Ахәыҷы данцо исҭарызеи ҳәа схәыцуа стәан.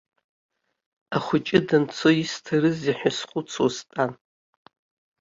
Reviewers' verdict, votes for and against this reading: accepted, 2, 0